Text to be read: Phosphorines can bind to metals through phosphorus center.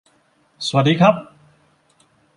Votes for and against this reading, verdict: 0, 2, rejected